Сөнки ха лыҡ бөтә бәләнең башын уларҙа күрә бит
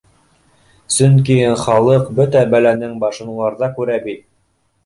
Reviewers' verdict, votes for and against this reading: accepted, 2, 0